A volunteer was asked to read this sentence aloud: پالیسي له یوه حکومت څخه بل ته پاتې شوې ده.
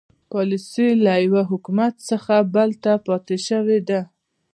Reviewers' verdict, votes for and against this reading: rejected, 1, 2